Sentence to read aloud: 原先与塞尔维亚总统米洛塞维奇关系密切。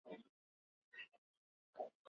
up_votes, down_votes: 0, 3